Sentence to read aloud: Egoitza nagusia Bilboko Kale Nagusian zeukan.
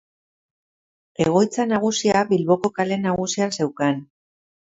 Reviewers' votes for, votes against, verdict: 2, 1, accepted